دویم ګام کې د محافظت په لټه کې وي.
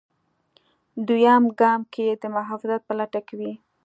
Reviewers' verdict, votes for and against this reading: accepted, 2, 0